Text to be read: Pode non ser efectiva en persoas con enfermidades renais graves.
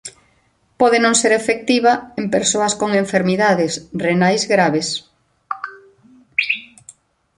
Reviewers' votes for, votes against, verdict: 2, 1, accepted